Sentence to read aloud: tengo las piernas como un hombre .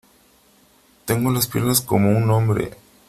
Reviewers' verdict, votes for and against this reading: accepted, 3, 0